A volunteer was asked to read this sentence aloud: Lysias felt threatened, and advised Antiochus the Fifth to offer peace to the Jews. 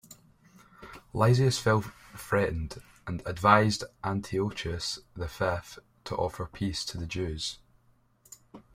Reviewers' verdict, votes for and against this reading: accepted, 2, 0